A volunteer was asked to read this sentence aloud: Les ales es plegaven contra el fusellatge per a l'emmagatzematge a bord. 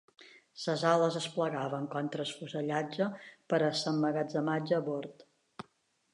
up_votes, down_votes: 2, 0